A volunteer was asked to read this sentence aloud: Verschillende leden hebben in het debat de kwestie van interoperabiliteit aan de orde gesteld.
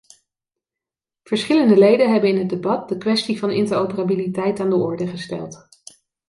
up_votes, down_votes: 3, 0